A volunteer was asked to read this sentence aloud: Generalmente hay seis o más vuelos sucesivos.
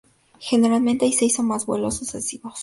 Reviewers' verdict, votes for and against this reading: accepted, 2, 0